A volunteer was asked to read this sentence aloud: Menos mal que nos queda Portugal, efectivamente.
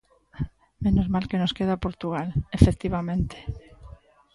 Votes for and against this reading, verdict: 2, 0, accepted